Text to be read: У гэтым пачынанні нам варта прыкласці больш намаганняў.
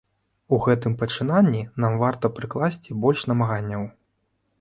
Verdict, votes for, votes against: accepted, 2, 0